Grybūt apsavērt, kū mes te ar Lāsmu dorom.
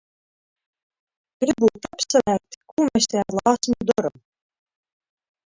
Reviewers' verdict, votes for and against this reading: rejected, 0, 2